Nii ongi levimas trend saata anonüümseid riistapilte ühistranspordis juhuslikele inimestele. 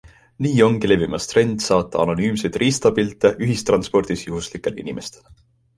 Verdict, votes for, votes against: accepted, 2, 0